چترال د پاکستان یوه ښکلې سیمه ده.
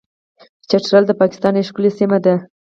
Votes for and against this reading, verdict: 2, 2, rejected